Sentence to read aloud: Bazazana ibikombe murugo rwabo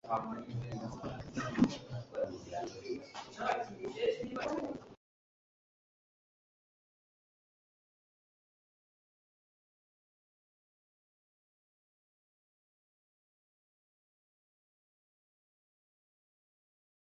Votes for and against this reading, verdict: 1, 2, rejected